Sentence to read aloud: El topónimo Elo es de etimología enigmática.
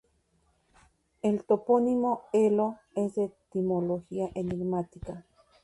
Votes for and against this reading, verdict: 2, 0, accepted